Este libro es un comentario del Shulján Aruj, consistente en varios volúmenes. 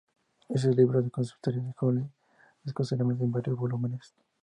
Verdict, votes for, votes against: rejected, 0, 2